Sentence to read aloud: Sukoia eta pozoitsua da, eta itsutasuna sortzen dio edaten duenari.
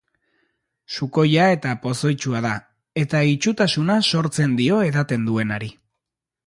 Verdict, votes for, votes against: accepted, 2, 0